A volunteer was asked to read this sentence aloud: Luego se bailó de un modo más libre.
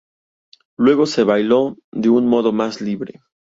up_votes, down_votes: 2, 0